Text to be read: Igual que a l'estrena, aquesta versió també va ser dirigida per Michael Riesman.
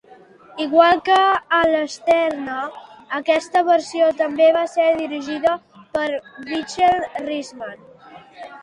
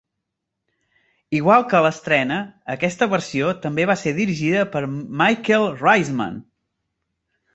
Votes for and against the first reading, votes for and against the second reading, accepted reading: 0, 2, 2, 1, second